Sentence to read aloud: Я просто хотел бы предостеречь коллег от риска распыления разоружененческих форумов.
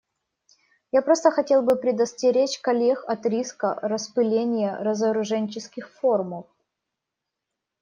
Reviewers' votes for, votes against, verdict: 2, 0, accepted